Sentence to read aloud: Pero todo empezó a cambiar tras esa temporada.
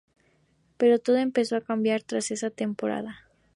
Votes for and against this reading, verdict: 2, 0, accepted